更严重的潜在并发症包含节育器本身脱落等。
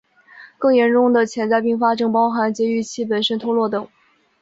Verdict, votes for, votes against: accepted, 2, 1